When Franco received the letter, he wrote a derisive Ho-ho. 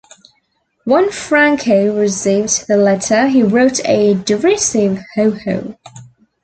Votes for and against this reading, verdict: 2, 1, accepted